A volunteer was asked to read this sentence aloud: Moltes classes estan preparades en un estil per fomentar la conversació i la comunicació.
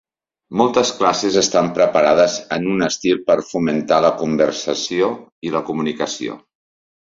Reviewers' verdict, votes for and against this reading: accepted, 3, 0